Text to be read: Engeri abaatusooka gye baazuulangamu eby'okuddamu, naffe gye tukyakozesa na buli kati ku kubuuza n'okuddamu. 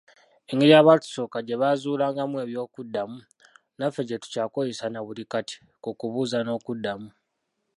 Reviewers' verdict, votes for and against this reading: rejected, 0, 2